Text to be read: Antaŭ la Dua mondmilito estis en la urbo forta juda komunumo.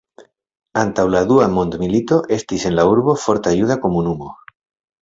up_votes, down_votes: 2, 0